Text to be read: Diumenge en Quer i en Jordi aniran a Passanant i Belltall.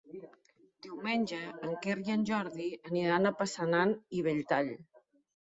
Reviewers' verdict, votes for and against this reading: accepted, 2, 0